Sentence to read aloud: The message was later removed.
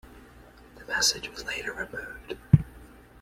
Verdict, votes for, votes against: accepted, 2, 0